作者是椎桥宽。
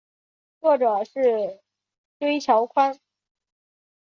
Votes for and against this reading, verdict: 4, 0, accepted